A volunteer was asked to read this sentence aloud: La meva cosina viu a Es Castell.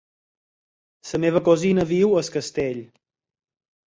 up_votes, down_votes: 4, 0